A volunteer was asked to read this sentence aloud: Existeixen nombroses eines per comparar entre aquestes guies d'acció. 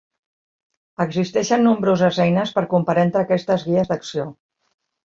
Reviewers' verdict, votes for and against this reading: accepted, 2, 0